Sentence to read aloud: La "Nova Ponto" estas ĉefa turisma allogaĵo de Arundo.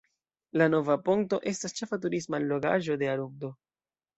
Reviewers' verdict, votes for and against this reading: accepted, 2, 1